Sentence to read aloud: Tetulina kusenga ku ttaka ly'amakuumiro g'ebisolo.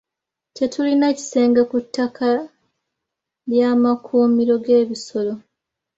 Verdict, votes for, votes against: rejected, 1, 2